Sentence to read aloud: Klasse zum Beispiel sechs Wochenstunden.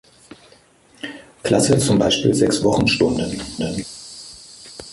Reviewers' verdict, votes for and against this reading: rejected, 0, 2